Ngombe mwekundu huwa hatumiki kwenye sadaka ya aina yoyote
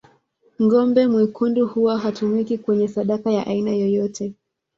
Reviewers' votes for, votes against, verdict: 0, 2, rejected